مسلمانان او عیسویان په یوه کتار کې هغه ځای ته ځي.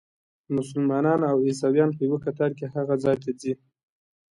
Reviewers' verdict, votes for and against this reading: accepted, 2, 0